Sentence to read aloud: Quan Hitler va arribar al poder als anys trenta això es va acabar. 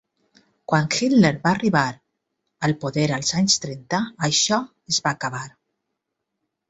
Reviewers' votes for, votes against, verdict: 3, 0, accepted